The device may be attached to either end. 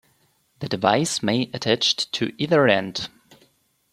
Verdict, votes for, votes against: rejected, 1, 3